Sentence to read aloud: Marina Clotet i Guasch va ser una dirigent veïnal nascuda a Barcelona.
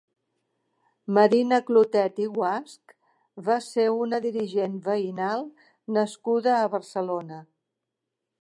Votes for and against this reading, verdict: 3, 0, accepted